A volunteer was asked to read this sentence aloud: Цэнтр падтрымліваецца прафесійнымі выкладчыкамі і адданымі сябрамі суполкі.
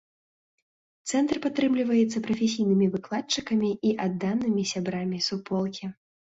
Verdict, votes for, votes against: accepted, 2, 0